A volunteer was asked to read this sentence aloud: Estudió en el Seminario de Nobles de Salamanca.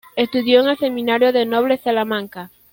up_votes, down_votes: 0, 2